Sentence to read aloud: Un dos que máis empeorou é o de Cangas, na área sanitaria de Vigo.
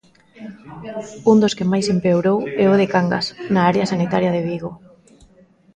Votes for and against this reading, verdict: 2, 1, accepted